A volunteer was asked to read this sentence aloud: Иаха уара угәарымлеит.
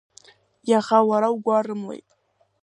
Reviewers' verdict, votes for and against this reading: accepted, 2, 1